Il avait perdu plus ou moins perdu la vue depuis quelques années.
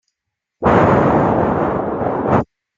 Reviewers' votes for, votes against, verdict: 0, 2, rejected